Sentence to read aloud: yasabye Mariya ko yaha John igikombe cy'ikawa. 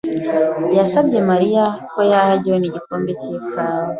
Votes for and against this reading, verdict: 2, 0, accepted